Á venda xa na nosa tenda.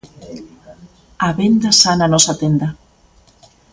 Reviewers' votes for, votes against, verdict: 2, 0, accepted